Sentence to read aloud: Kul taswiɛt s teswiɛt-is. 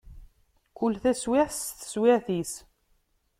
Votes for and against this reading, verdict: 2, 0, accepted